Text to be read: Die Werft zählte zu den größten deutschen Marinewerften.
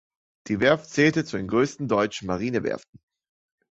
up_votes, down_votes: 2, 1